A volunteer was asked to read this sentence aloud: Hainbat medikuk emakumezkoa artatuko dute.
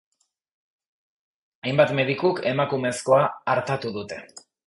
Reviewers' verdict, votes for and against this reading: rejected, 0, 3